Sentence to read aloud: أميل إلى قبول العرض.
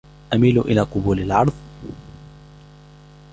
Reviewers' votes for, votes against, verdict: 2, 0, accepted